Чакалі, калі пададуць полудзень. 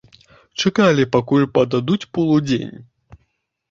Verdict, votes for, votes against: rejected, 0, 2